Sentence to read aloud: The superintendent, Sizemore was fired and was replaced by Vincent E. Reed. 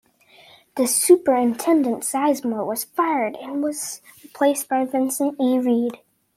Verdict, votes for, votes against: accepted, 2, 0